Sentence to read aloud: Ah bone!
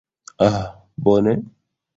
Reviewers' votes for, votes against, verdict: 0, 2, rejected